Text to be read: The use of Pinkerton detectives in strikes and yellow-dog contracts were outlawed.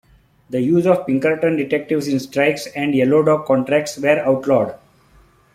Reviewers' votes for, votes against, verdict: 2, 1, accepted